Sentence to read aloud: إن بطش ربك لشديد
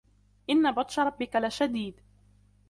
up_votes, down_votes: 2, 0